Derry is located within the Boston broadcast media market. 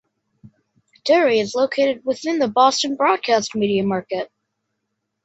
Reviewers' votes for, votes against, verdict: 2, 0, accepted